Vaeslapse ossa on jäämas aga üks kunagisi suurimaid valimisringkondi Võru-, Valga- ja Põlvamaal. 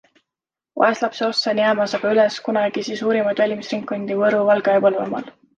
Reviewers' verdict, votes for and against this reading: accepted, 2, 1